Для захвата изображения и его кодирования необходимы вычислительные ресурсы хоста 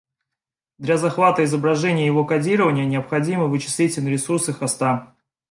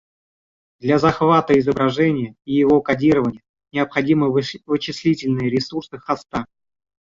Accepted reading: first